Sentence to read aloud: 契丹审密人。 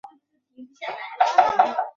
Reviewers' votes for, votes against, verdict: 2, 3, rejected